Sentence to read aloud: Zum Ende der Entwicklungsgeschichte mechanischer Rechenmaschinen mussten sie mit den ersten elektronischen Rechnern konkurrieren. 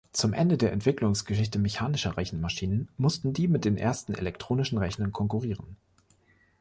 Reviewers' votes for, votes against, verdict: 0, 3, rejected